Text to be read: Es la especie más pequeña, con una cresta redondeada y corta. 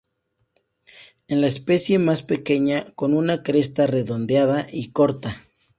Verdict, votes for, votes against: accepted, 2, 0